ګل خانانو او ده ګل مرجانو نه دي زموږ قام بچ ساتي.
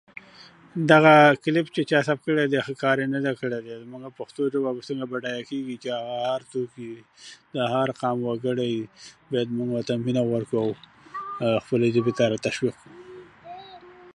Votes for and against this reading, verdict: 0, 2, rejected